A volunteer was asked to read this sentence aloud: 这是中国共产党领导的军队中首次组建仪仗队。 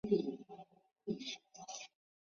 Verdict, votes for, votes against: rejected, 0, 2